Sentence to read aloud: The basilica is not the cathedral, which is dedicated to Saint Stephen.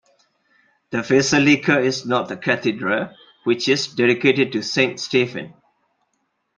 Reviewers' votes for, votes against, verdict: 2, 0, accepted